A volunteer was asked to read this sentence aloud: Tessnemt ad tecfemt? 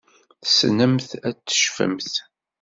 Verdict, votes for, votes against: accepted, 2, 0